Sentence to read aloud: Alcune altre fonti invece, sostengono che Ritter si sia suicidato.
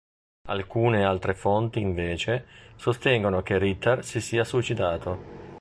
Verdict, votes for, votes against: accepted, 2, 0